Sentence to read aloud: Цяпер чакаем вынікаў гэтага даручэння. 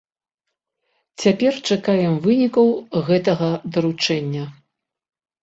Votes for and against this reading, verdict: 2, 0, accepted